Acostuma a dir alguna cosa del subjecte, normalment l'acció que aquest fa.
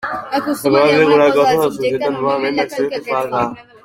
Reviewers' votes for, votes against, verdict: 0, 2, rejected